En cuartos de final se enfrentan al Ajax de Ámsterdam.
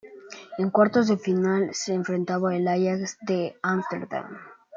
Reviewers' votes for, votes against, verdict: 2, 0, accepted